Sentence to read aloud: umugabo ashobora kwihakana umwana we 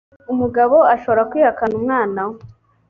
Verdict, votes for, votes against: accepted, 3, 0